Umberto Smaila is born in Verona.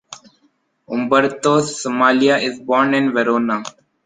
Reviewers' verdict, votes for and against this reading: rejected, 1, 2